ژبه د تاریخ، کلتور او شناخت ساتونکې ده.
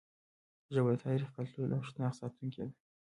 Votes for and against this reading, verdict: 0, 2, rejected